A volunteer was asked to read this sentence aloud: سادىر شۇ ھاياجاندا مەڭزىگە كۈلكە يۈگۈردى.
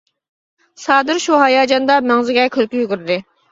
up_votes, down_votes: 2, 0